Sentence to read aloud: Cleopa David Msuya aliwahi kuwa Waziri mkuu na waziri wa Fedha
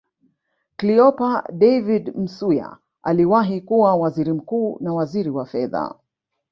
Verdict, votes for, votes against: rejected, 1, 2